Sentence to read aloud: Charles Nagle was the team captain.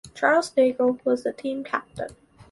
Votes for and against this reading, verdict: 4, 0, accepted